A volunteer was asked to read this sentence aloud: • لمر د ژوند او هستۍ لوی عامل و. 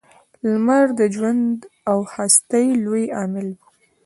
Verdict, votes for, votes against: accepted, 2, 0